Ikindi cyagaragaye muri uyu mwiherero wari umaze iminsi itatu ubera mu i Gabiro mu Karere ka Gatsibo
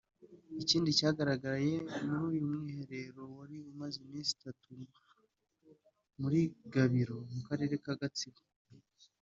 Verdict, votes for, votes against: rejected, 1, 2